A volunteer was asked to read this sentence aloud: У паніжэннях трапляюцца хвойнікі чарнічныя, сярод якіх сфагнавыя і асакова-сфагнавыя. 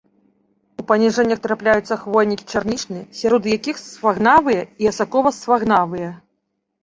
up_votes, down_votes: 1, 2